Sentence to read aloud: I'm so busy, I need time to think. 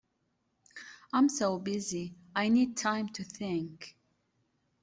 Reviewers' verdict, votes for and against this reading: accepted, 2, 0